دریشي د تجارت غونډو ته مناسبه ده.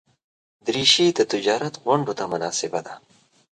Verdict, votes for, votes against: accepted, 2, 0